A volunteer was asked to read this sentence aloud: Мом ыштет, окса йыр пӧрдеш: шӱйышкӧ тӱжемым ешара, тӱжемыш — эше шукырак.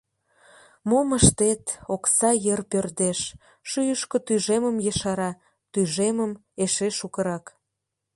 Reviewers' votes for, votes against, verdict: 0, 2, rejected